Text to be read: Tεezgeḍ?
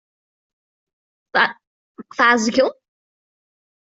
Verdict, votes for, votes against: rejected, 0, 2